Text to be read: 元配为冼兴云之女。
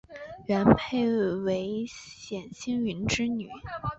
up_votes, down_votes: 2, 0